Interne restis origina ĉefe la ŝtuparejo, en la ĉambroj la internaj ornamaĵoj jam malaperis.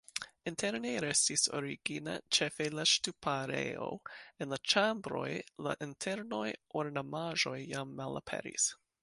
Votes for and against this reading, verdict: 2, 0, accepted